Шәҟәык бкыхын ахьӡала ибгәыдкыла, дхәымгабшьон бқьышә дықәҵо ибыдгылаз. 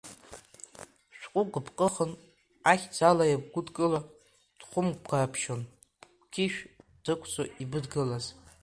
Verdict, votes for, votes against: rejected, 1, 2